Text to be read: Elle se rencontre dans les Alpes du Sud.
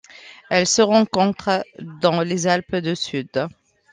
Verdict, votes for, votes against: rejected, 1, 2